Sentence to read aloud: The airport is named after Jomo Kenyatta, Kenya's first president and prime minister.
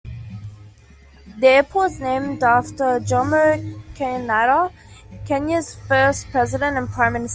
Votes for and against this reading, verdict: 0, 2, rejected